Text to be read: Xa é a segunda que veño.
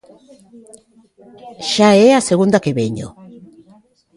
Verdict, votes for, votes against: rejected, 1, 2